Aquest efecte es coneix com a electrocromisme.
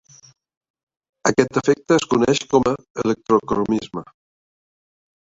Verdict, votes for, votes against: accepted, 3, 0